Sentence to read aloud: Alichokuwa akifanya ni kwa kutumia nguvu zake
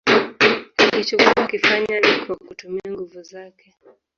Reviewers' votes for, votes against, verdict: 0, 2, rejected